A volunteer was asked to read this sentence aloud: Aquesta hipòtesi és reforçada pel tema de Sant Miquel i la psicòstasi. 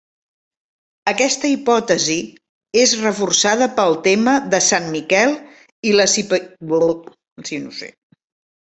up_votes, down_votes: 0, 2